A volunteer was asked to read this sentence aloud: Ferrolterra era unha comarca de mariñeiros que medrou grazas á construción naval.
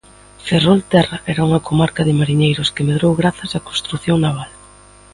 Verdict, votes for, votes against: accepted, 2, 0